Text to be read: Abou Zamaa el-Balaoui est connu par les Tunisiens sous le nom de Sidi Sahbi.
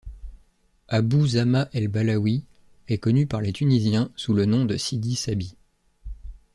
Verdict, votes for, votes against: accepted, 2, 0